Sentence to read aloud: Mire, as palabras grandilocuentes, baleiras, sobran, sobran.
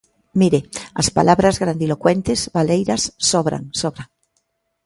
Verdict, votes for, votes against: accepted, 2, 0